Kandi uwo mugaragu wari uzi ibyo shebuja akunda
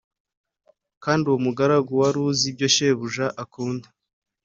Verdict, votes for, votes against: accepted, 3, 0